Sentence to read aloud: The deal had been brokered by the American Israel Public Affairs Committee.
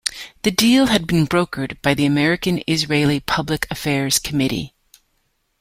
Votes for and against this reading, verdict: 1, 2, rejected